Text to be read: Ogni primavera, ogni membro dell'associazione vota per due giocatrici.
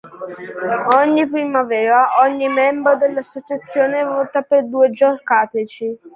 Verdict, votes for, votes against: rejected, 0, 2